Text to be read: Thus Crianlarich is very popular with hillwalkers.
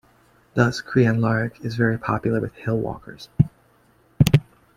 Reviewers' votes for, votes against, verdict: 2, 1, accepted